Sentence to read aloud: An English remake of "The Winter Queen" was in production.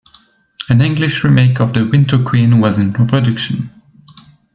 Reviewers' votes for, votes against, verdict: 0, 2, rejected